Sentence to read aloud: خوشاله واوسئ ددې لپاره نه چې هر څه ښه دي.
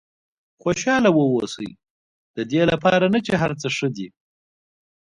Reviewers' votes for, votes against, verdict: 2, 0, accepted